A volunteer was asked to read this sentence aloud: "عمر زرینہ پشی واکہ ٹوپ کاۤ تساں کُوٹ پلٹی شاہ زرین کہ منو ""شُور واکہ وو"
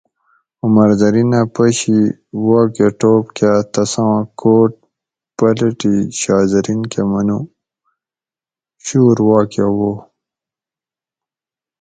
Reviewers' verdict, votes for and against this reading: rejected, 2, 2